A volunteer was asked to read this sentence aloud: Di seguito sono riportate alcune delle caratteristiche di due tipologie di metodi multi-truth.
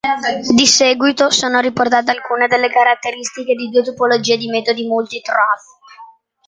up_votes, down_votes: 0, 2